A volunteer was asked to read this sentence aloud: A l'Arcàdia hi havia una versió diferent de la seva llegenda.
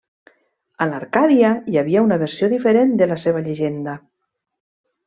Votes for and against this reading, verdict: 3, 0, accepted